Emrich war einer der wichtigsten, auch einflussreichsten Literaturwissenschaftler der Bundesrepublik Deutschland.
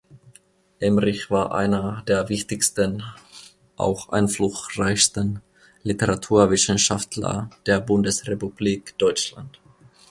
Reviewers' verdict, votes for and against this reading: rejected, 0, 2